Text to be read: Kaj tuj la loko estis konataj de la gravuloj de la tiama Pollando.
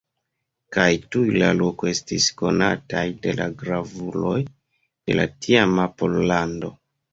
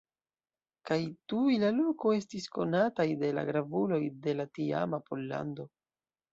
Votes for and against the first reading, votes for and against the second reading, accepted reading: 1, 2, 2, 1, second